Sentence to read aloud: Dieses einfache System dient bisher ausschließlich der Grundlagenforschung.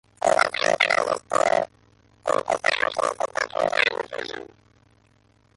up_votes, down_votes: 0, 2